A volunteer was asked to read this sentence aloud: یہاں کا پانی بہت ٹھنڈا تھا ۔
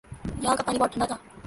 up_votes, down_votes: 1, 2